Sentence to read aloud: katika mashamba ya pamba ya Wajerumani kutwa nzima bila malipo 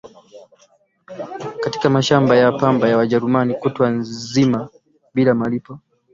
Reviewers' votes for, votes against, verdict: 3, 0, accepted